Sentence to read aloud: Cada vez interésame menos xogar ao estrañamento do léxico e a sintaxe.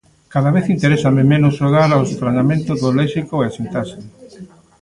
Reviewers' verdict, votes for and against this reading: rejected, 1, 2